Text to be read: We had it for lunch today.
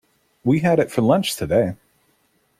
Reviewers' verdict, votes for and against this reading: accepted, 2, 0